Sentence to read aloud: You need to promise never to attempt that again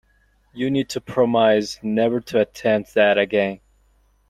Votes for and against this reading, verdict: 1, 2, rejected